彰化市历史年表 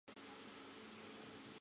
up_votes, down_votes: 1, 2